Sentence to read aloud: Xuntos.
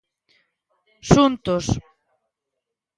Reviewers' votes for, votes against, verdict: 2, 0, accepted